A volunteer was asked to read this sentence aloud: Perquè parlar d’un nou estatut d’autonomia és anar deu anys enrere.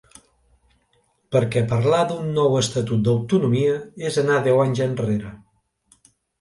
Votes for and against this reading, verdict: 2, 0, accepted